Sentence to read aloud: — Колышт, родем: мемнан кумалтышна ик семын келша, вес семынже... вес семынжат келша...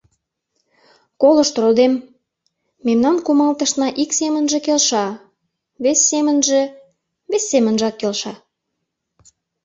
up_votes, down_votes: 0, 2